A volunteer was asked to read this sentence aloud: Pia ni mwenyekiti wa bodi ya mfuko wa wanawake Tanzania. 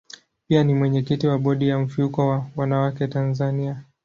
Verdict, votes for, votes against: accepted, 2, 1